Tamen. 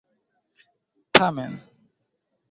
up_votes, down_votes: 2, 0